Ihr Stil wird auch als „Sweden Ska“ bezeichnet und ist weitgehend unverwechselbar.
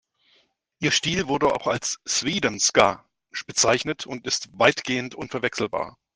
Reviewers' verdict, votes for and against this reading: rejected, 0, 2